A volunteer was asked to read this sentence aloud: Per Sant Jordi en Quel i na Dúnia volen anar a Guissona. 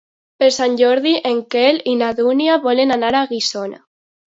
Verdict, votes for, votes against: accepted, 2, 0